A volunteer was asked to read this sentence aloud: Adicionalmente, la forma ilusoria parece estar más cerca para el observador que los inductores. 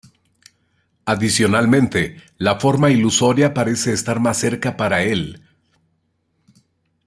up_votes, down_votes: 0, 2